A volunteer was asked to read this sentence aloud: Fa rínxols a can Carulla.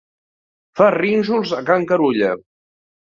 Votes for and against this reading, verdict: 2, 0, accepted